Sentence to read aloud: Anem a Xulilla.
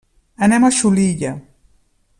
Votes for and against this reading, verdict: 1, 2, rejected